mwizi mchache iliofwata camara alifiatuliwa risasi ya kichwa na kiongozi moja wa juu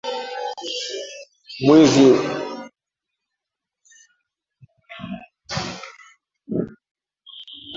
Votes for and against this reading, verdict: 0, 2, rejected